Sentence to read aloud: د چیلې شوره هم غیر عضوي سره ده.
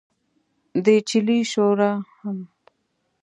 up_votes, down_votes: 2, 0